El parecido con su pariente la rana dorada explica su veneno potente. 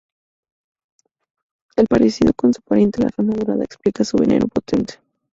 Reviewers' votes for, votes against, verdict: 2, 0, accepted